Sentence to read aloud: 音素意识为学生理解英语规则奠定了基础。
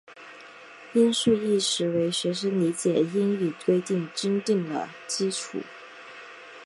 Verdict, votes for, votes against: rejected, 1, 2